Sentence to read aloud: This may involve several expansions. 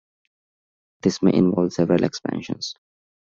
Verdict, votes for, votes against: accepted, 2, 0